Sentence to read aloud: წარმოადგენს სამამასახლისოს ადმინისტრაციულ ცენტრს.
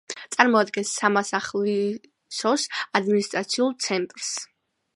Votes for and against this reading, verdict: 0, 2, rejected